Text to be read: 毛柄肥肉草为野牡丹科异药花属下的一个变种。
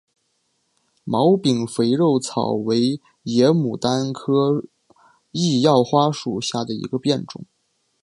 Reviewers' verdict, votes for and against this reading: accepted, 5, 1